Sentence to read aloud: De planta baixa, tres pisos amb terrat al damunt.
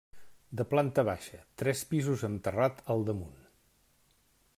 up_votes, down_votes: 2, 0